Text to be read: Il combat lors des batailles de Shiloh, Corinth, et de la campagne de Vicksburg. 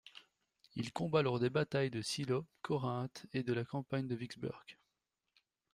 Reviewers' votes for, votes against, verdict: 1, 2, rejected